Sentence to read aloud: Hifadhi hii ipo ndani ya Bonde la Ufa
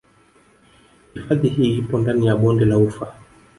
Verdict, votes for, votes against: accepted, 4, 1